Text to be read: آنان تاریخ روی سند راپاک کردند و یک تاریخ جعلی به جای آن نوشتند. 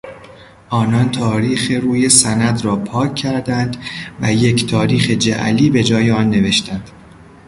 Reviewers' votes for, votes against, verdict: 2, 0, accepted